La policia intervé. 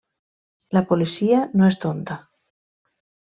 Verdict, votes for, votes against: rejected, 0, 2